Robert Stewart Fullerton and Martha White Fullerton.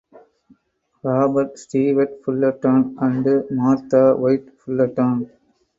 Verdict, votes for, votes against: rejected, 0, 4